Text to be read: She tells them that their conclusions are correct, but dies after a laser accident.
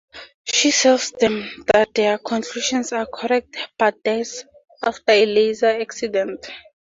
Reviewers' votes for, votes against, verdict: 0, 2, rejected